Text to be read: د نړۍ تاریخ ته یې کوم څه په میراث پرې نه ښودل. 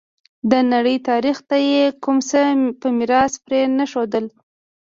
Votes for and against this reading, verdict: 2, 0, accepted